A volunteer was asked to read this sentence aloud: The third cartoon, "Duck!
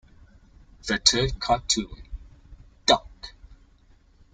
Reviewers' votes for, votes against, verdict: 1, 2, rejected